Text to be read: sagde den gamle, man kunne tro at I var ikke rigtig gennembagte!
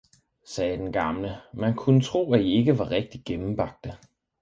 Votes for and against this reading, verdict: 4, 2, accepted